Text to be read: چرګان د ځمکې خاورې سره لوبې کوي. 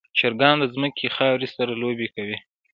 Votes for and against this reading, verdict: 2, 0, accepted